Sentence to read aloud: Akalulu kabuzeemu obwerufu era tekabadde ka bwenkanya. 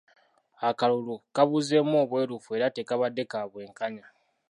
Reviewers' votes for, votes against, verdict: 2, 0, accepted